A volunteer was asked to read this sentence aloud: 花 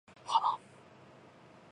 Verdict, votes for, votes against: rejected, 2, 2